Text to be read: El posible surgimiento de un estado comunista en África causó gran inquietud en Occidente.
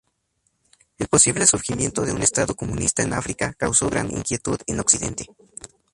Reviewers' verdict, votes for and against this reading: accepted, 2, 0